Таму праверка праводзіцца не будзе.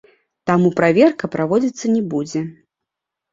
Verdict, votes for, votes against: accepted, 2, 0